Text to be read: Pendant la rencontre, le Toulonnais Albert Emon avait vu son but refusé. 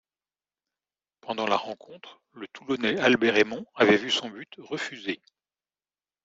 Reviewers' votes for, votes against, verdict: 2, 0, accepted